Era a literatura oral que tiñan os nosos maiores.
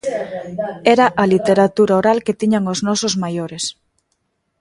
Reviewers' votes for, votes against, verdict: 1, 2, rejected